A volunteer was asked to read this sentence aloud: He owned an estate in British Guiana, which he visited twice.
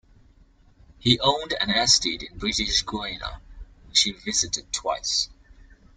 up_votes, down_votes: 1, 2